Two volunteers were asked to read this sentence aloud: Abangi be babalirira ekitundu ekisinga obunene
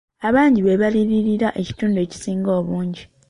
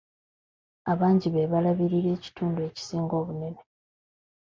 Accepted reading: second